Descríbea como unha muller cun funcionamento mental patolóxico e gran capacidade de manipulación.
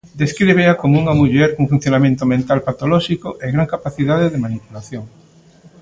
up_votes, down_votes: 2, 0